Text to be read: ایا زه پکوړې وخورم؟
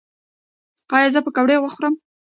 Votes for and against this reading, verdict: 2, 0, accepted